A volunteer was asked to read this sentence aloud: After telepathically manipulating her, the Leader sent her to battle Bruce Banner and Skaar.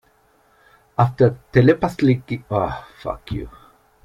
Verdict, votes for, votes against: rejected, 0, 2